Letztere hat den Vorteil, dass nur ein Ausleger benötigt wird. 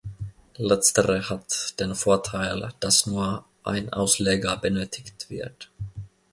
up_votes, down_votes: 2, 0